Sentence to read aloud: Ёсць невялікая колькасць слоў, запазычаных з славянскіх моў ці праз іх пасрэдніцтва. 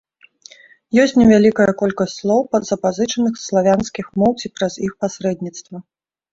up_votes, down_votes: 1, 2